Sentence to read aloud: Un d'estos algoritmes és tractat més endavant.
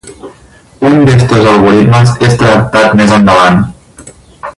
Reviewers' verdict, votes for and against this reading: rejected, 2, 2